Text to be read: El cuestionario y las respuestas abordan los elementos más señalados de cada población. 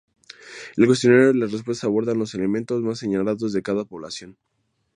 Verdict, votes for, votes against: accepted, 2, 0